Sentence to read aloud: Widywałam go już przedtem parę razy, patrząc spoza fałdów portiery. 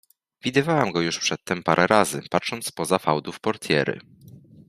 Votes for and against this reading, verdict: 2, 0, accepted